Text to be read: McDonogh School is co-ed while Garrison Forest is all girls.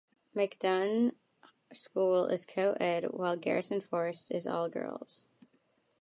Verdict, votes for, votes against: rejected, 1, 2